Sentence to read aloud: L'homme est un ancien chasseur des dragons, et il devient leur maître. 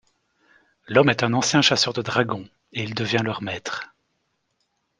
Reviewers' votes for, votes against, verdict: 1, 2, rejected